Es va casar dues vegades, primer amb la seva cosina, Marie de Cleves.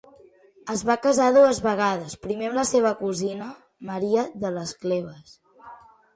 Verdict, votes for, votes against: rejected, 0, 2